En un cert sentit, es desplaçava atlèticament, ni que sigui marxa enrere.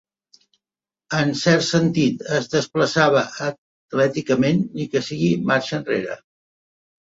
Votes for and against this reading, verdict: 0, 2, rejected